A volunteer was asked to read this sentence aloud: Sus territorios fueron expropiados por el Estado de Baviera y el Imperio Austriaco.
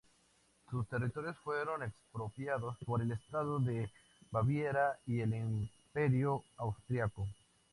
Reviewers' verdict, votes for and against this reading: accepted, 2, 0